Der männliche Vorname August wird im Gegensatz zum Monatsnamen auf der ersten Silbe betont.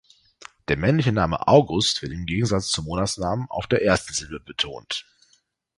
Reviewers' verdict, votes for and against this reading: rejected, 0, 2